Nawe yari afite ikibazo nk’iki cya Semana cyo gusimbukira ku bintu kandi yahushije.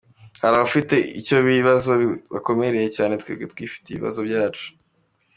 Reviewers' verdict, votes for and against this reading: rejected, 0, 2